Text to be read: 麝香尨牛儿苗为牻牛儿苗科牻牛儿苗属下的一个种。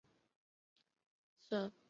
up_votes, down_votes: 1, 4